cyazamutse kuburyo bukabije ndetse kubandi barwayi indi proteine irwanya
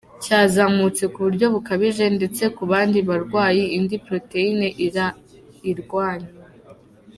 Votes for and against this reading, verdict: 0, 2, rejected